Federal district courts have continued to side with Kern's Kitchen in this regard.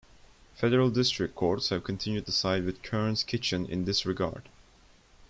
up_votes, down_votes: 2, 0